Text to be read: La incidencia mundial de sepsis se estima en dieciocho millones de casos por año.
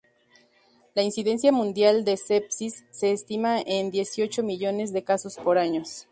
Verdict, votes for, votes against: rejected, 0, 2